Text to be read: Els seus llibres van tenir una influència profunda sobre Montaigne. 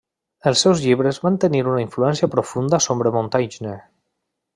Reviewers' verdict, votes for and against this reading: rejected, 1, 2